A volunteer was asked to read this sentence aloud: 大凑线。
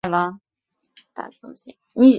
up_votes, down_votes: 1, 3